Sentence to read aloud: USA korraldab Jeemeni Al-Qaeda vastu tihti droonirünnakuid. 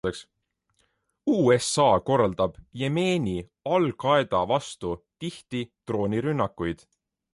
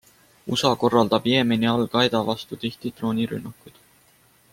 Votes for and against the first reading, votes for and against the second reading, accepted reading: 1, 2, 2, 0, second